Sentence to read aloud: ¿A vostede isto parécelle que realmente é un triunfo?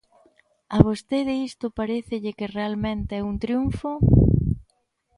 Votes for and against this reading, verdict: 2, 1, accepted